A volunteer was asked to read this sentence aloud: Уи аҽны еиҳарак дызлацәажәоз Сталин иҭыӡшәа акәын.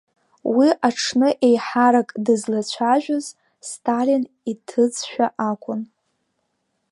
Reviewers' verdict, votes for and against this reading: rejected, 6, 8